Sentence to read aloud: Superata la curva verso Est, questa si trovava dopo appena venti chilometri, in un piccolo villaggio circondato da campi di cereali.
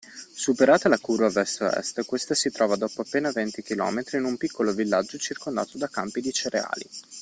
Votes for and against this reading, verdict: 1, 2, rejected